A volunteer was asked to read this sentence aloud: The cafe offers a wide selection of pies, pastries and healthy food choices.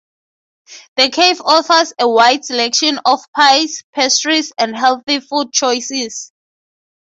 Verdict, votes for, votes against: accepted, 3, 0